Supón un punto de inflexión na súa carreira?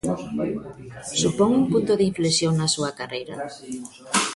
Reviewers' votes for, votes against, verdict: 1, 2, rejected